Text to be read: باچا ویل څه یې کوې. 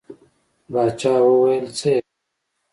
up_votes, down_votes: 1, 2